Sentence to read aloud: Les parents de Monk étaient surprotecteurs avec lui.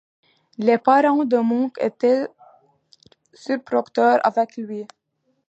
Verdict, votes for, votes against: rejected, 0, 2